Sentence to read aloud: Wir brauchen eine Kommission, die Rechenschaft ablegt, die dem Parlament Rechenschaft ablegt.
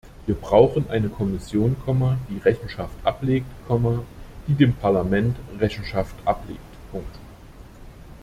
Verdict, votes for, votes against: rejected, 0, 2